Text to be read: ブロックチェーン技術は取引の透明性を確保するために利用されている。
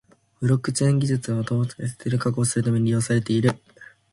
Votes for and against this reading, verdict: 0, 2, rejected